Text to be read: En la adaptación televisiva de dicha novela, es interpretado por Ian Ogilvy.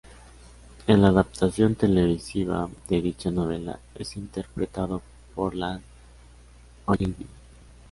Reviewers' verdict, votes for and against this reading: rejected, 1, 2